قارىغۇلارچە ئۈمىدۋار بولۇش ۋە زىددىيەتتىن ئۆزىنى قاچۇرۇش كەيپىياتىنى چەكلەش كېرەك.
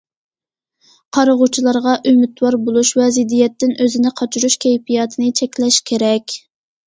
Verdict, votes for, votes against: rejected, 0, 2